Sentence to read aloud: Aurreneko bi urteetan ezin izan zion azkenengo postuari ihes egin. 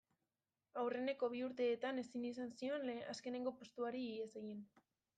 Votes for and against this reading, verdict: 0, 2, rejected